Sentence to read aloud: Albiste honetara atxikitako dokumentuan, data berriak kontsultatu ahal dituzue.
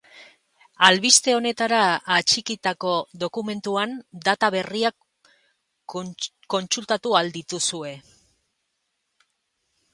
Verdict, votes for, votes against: rejected, 0, 4